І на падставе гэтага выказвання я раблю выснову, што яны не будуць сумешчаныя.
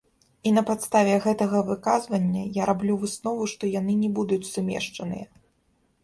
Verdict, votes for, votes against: rejected, 1, 2